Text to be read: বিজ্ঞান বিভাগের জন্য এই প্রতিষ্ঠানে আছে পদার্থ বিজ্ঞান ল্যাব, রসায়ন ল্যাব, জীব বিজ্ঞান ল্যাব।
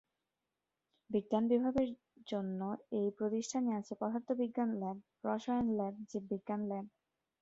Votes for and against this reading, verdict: 0, 2, rejected